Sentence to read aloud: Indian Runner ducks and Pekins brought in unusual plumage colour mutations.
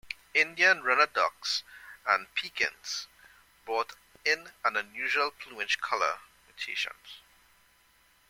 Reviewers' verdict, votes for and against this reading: rejected, 0, 2